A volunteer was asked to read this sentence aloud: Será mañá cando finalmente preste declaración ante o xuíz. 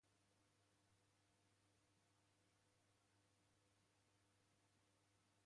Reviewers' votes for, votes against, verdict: 0, 2, rejected